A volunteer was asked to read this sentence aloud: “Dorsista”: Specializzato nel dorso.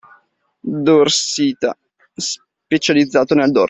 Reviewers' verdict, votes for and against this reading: rejected, 0, 2